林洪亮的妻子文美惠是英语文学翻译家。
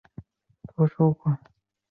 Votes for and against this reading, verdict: 0, 3, rejected